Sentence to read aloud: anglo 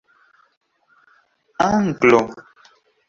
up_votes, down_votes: 2, 0